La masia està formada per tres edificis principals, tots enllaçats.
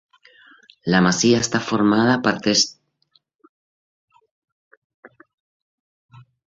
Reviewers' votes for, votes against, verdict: 0, 2, rejected